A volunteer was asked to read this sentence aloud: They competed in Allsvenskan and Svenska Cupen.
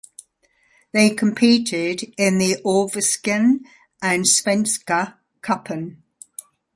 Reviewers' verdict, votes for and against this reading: rejected, 1, 2